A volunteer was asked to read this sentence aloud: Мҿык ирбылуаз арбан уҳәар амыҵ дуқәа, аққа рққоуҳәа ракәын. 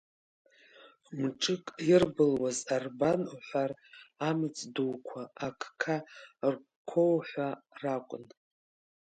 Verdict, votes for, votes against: rejected, 0, 2